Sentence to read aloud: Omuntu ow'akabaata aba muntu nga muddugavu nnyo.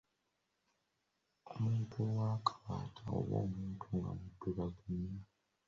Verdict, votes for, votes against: rejected, 0, 2